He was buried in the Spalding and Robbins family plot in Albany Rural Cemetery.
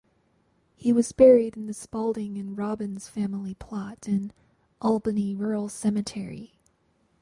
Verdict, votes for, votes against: accepted, 4, 0